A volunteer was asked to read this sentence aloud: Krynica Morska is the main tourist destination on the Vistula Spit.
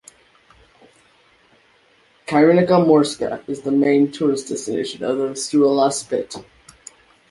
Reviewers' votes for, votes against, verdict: 2, 1, accepted